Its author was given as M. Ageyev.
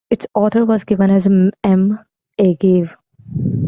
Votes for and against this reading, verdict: 0, 2, rejected